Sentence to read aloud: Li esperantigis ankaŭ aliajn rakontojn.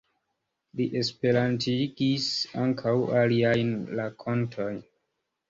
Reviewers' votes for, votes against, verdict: 1, 2, rejected